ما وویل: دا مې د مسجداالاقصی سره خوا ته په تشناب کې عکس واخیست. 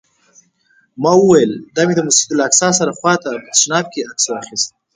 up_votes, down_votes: 4, 0